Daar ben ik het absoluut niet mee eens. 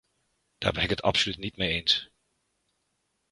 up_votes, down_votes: 2, 0